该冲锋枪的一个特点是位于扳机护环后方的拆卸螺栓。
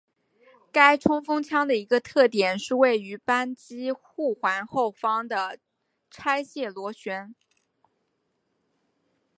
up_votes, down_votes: 2, 0